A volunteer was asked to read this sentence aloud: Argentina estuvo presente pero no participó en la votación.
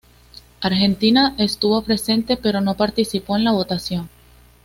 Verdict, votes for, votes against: accepted, 2, 0